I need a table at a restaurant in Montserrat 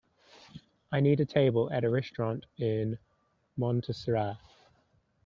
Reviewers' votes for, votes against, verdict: 3, 0, accepted